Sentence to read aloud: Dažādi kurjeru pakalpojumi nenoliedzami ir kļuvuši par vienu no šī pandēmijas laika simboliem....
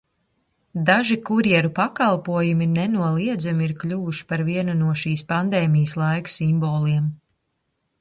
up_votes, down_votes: 0, 2